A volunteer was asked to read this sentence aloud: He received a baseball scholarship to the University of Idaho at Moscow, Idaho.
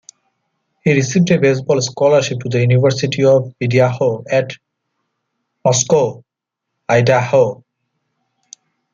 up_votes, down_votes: 0, 2